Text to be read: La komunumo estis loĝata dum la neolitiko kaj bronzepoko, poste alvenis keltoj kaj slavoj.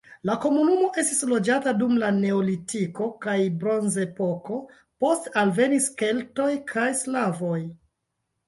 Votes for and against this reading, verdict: 1, 2, rejected